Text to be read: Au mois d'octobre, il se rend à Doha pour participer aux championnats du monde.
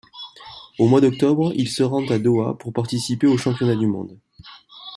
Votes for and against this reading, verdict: 2, 0, accepted